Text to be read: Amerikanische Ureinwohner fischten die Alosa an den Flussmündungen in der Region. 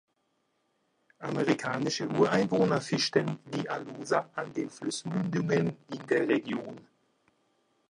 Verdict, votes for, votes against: rejected, 1, 2